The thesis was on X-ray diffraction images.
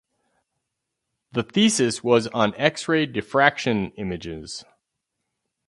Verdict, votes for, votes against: accepted, 4, 0